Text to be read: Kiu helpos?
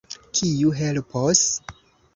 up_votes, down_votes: 2, 0